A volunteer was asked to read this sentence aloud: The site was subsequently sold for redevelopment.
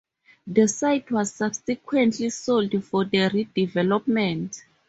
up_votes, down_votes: 2, 2